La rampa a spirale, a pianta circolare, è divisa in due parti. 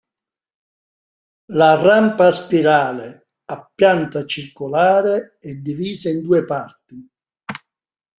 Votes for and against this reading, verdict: 2, 1, accepted